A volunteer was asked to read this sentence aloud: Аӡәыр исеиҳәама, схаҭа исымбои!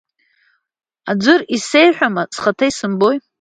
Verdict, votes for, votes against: accepted, 2, 0